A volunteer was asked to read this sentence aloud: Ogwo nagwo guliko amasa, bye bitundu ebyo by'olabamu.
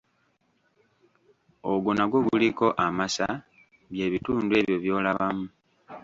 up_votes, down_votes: 1, 2